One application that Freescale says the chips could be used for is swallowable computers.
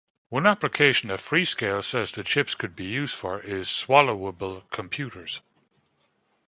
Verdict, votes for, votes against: accepted, 2, 0